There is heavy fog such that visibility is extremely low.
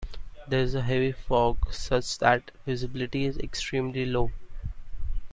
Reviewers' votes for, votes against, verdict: 1, 2, rejected